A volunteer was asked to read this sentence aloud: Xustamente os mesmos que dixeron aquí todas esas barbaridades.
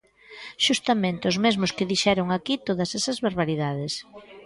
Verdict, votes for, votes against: rejected, 1, 2